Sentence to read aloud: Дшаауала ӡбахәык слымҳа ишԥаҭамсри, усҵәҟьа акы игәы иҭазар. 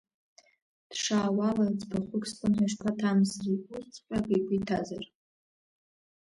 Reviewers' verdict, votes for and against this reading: rejected, 0, 2